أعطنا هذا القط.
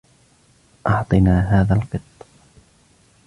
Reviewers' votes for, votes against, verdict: 1, 2, rejected